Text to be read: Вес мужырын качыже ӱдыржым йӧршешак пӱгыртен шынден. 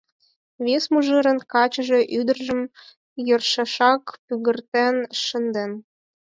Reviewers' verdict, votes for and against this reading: rejected, 2, 4